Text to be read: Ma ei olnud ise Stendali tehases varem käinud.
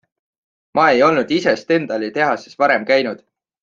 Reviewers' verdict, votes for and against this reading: accepted, 4, 0